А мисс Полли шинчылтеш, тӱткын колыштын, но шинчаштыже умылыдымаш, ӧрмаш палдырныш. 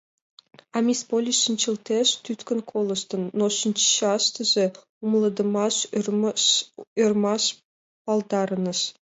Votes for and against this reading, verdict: 1, 2, rejected